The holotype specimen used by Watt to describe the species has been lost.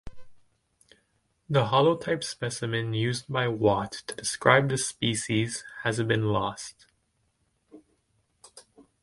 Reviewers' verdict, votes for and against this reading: accepted, 2, 0